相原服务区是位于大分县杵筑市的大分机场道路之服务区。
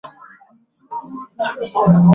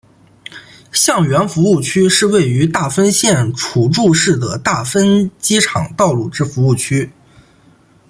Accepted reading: second